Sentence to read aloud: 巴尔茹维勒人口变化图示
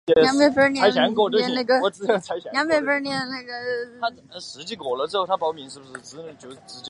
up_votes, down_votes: 0, 2